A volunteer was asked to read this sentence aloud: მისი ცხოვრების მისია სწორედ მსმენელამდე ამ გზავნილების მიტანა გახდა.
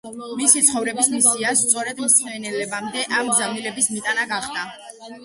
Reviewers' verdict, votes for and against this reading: rejected, 1, 2